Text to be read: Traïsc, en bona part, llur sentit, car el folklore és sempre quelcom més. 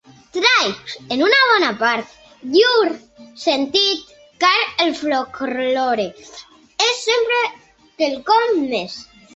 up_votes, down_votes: 0, 2